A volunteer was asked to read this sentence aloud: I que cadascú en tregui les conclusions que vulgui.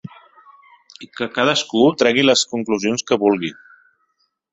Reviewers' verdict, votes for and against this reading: rejected, 1, 2